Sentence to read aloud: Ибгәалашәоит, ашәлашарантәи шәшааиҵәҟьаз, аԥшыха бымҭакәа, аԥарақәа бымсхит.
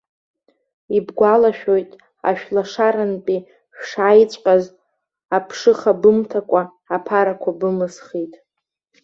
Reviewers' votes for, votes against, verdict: 1, 2, rejected